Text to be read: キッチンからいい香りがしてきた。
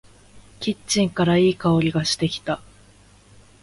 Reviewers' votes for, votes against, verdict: 4, 0, accepted